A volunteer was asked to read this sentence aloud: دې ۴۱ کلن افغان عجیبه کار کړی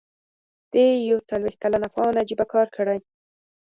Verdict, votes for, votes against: rejected, 0, 2